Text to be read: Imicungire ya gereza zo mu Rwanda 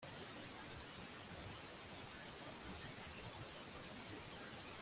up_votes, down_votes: 0, 2